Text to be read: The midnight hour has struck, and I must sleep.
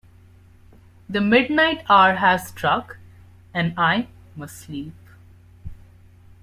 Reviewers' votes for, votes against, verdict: 2, 1, accepted